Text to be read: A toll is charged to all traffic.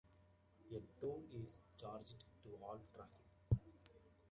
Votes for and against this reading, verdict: 2, 1, accepted